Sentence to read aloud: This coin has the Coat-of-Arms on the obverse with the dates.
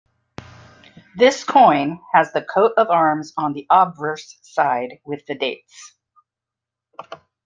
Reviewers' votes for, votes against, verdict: 0, 2, rejected